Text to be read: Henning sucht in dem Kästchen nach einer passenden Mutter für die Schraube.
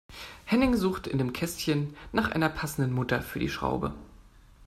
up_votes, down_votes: 2, 0